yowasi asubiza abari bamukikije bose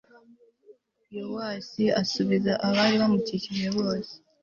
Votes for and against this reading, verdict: 2, 0, accepted